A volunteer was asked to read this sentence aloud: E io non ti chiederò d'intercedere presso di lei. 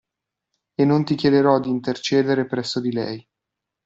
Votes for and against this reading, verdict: 1, 2, rejected